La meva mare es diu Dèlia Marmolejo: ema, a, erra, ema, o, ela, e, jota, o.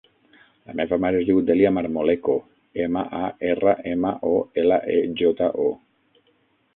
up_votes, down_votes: 3, 6